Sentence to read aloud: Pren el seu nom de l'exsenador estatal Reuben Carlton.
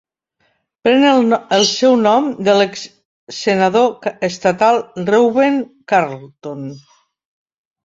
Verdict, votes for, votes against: rejected, 0, 3